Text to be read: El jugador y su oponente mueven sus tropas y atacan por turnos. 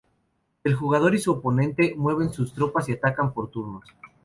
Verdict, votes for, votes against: accepted, 2, 0